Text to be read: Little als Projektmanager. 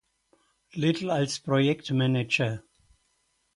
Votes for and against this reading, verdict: 4, 0, accepted